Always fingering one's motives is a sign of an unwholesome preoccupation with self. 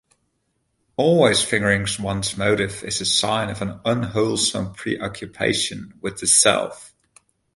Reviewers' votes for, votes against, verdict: 1, 2, rejected